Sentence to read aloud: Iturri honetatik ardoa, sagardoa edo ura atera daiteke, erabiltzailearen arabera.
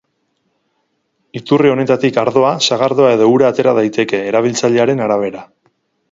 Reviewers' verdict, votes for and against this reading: accepted, 6, 0